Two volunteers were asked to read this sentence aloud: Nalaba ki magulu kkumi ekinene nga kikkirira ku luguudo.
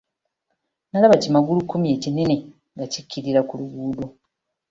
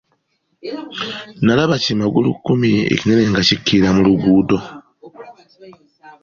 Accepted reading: first